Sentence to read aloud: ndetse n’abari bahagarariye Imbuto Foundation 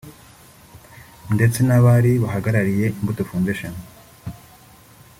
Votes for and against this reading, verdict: 2, 1, accepted